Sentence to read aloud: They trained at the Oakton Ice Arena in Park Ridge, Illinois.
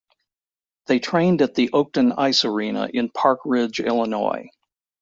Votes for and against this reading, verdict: 2, 0, accepted